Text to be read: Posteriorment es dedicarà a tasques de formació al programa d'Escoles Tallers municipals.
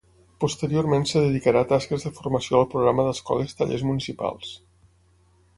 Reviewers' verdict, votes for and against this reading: rejected, 6, 9